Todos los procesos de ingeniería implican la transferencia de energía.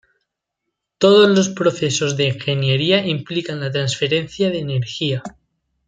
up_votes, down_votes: 2, 0